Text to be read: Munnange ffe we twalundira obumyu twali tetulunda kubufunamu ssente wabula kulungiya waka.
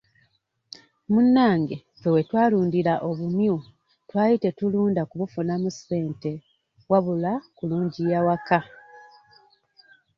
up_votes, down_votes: 2, 1